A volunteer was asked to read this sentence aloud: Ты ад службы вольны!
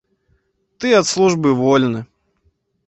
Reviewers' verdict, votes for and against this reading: accepted, 2, 0